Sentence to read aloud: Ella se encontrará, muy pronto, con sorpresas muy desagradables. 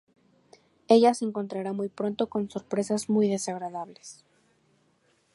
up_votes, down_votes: 0, 2